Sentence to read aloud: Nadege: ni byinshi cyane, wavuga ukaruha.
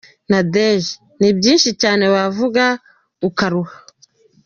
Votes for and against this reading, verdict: 0, 2, rejected